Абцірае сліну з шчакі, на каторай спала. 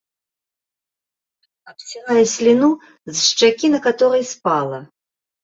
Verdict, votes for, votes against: accepted, 2, 0